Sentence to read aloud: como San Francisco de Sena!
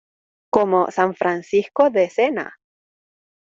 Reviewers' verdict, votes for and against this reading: accepted, 2, 0